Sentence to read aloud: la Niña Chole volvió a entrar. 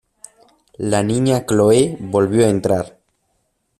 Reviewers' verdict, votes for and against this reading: rejected, 0, 2